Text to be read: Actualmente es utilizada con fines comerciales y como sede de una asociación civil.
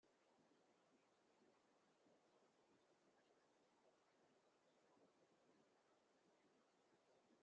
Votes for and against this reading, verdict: 1, 2, rejected